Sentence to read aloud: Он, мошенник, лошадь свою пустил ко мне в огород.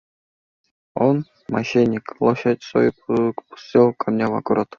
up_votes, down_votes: 2, 0